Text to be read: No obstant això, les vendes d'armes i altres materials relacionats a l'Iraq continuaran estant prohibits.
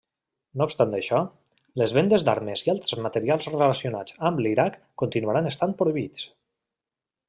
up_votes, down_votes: 0, 2